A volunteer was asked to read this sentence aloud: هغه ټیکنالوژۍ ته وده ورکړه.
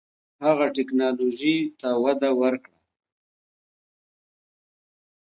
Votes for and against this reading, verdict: 2, 1, accepted